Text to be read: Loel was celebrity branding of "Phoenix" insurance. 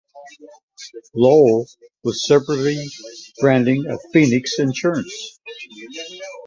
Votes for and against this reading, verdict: 0, 2, rejected